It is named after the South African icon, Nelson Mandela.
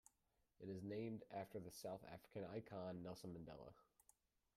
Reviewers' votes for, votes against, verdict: 2, 1, accepted